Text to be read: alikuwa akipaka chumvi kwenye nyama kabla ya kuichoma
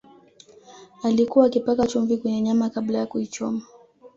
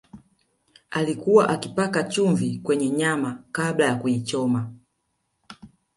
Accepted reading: first